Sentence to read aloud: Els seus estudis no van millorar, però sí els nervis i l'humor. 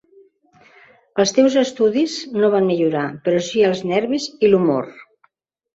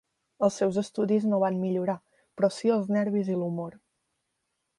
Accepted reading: second